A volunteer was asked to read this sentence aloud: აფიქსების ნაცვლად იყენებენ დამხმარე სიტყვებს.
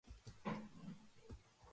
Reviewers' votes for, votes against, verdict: 0, 2, rejected